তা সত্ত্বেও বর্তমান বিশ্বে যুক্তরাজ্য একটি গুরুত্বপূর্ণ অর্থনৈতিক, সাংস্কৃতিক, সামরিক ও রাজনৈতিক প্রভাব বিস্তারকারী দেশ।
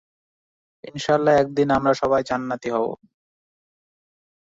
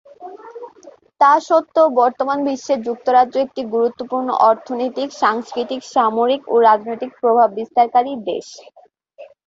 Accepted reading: second